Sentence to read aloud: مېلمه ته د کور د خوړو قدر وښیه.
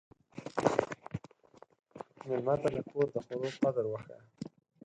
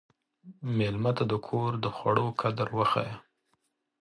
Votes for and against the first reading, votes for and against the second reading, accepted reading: 2, 4, 2, 0, second